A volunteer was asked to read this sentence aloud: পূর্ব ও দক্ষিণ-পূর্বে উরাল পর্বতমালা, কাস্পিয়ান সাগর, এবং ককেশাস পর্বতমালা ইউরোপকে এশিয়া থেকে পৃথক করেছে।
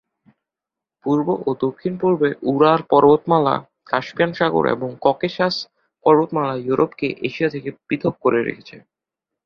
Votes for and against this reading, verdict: 1, 2, rejected